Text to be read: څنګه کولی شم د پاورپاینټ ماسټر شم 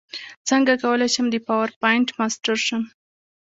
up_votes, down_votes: 2, 0